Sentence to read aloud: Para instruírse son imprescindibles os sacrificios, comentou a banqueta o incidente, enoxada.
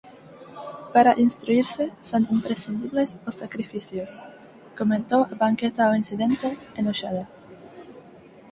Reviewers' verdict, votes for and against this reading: rejected, 0, 4